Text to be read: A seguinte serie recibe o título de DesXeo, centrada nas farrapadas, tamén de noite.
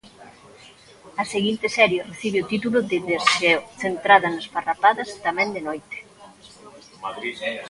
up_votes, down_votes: 1, 2